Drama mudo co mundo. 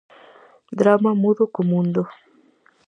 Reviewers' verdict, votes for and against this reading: accepted, 2, 0